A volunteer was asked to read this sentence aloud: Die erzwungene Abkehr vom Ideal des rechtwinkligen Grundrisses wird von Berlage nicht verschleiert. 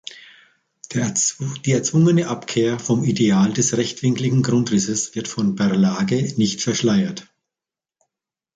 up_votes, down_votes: 0, 2